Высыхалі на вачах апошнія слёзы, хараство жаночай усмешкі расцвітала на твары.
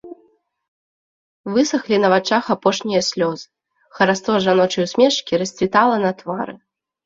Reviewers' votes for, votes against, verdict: 1, 2, rejected